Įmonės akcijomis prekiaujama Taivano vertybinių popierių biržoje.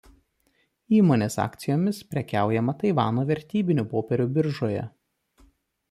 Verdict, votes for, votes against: accepted, 2, 0